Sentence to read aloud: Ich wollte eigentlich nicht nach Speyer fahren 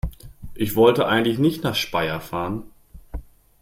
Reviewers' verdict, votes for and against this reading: accepted, 2, 0